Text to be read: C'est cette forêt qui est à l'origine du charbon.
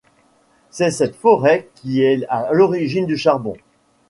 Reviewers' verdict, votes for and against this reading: rejected, 0, 2